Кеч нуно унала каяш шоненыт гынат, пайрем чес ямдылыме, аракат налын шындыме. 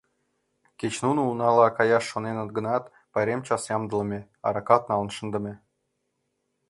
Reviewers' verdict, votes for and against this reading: rejected, 0, 2